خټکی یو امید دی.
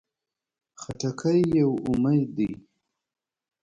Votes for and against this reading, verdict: 2, 0, accepted